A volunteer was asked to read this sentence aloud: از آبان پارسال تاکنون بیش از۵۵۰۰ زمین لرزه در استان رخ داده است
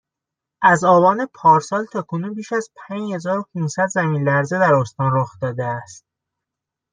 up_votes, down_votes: 0, 2